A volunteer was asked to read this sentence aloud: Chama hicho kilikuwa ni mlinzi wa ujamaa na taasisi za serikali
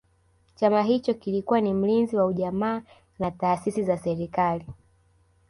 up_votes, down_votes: 0, 2